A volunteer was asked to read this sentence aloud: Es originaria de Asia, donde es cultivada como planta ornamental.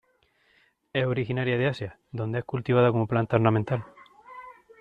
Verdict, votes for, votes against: accepted, 2, 0